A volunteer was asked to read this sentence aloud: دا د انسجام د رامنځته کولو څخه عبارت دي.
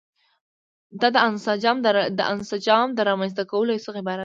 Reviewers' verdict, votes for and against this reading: rejected, 1, 2